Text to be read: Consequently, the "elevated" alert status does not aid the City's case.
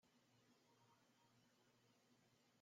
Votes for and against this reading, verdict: 0, 2, rejected